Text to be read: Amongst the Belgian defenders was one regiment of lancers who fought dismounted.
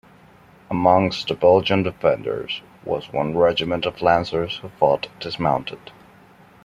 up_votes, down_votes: 2, 0